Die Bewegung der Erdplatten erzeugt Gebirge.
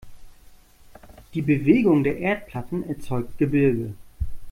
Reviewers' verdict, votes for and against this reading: accepted, 2, 0